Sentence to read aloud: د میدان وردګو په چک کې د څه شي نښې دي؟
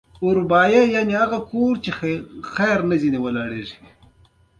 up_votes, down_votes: 2, 0